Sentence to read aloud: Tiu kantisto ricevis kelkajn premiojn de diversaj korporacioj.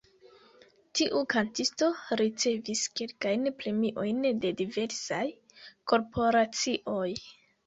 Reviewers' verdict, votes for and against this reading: accepted, 2, 0